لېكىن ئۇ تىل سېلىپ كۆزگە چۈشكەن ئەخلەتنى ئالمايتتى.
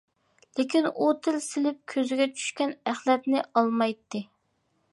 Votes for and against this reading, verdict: 2, 0, accepted